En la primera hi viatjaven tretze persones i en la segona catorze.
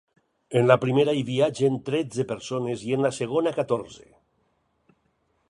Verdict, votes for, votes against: rejected, 0, 4